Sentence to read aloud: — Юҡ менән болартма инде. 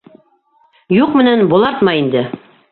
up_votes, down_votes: 1, 2